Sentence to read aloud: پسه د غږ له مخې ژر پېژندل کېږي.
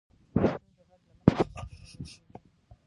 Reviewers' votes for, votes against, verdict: 1, 2, rejected